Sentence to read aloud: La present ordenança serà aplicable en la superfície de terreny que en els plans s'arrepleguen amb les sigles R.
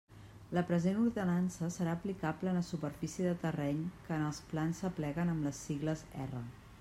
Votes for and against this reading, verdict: 1, 2, rejected